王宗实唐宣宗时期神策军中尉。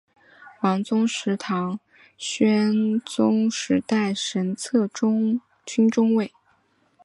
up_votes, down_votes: 0, 3